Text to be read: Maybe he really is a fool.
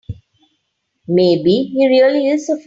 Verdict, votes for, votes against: rejected, 0, 3